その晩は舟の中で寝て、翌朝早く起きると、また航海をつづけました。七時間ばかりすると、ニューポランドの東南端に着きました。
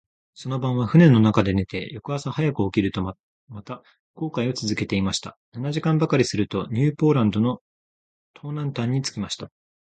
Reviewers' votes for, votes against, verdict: 2, 0, accepted